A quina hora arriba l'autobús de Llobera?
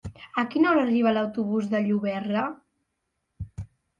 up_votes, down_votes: 0, 2